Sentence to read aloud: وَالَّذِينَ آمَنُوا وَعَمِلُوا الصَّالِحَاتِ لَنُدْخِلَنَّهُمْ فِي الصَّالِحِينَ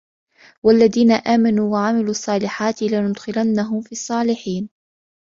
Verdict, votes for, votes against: accepted, 2, 0